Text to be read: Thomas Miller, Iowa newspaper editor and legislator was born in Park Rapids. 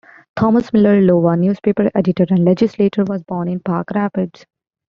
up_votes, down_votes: 0, 2